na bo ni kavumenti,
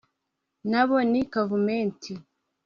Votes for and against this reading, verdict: 2, 1, accepted